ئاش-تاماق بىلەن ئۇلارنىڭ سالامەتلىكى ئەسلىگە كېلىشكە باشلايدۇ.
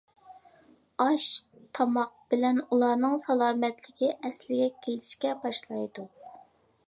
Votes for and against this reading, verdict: 2, 0, accepted